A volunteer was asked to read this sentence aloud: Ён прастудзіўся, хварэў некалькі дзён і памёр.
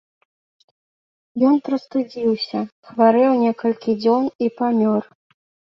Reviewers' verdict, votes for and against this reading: accepted, 2, 0